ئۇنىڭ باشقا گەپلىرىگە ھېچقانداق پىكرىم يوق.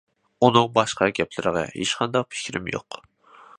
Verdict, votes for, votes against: accepted, 2, 0